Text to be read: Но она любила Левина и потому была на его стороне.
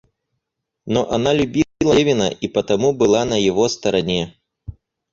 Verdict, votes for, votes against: rejected, 0, 4